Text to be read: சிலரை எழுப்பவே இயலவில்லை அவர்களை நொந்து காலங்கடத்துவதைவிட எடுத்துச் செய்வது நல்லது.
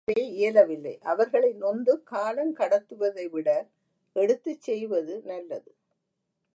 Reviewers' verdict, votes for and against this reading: rejected, 1, 2